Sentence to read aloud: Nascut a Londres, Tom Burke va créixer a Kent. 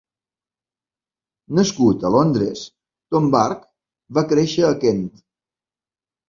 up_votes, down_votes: 2, 0